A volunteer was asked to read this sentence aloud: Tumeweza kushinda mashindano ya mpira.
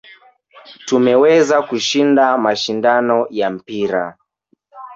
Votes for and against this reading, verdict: 1, 2, rejected